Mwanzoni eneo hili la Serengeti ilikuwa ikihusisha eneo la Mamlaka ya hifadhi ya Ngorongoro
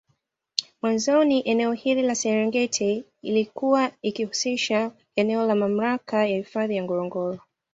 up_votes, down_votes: 2, 0